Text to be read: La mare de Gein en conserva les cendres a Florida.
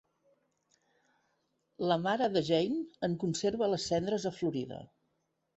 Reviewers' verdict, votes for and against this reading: accepted, 2, 0